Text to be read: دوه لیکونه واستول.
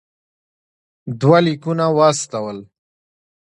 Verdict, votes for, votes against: accepted, 2, 1